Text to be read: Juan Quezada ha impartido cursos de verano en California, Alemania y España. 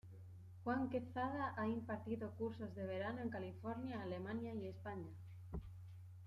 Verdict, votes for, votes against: accepted, 2, 0